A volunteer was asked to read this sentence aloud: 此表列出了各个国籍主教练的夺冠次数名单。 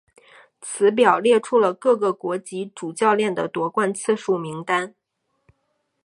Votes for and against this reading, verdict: 3, 0, accepted